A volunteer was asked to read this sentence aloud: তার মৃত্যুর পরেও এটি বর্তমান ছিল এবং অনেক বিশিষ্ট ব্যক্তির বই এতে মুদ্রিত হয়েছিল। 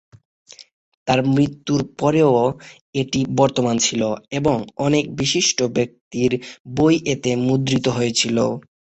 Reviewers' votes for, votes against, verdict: 0, 3, rejected